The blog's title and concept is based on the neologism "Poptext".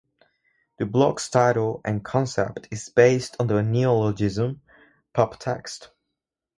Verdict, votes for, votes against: accepted, 4, 0